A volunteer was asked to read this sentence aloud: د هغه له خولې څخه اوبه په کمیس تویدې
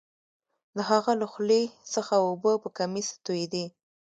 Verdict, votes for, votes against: rejected, 0, 2